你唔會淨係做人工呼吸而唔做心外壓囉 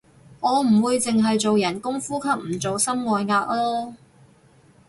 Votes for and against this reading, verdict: 0, 2, rejected